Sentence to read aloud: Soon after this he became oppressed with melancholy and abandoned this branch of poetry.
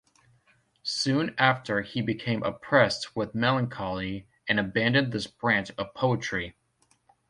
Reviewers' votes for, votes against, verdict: 0, 2, rejected